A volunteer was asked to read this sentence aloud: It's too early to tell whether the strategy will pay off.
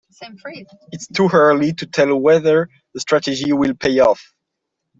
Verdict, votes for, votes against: accepted, 2, 1